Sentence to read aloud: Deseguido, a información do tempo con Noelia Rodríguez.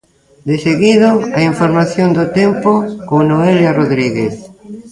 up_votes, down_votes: 0, 2